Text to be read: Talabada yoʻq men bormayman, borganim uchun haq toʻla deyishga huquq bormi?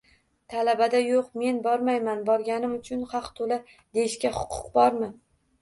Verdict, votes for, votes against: accepted, 2, 0